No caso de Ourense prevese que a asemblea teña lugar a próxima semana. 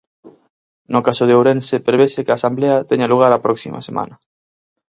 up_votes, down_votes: 2, 4